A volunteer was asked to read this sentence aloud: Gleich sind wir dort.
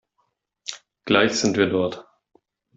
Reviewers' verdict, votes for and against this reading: accepted, 2, 0